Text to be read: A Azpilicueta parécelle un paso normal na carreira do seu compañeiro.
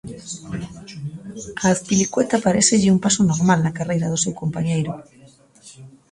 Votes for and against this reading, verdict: 0, 2, rejected